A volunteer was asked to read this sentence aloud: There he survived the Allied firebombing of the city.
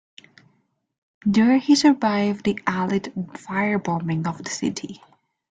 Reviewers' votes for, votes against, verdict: 1, 2, rejected